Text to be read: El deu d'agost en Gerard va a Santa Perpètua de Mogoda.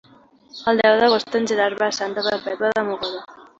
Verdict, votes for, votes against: accepted, 2, 0